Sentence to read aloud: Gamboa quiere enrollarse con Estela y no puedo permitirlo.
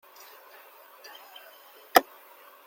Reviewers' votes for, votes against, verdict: 0, 2, rejected